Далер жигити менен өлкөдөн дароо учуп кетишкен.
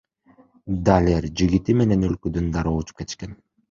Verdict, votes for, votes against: accepted, 2, 0